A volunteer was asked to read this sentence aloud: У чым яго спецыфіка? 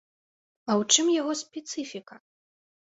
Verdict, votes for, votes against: rejected, 0, 2